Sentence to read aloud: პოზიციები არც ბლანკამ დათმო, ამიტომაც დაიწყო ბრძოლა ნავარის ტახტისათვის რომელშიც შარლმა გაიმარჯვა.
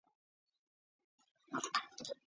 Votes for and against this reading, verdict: 0, 2, rejected